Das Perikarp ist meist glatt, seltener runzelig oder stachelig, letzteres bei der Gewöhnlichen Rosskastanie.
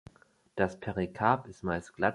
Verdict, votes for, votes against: rejected, 0, 2